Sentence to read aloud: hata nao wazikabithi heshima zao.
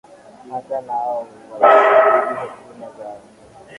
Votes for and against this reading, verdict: 1, 2, rejected